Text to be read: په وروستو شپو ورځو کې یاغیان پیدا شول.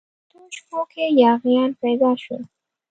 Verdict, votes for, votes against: rejected, 1, 2